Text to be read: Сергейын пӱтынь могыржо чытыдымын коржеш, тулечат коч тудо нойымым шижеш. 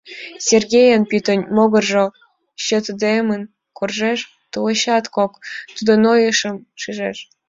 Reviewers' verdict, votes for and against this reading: accepted, 2, 1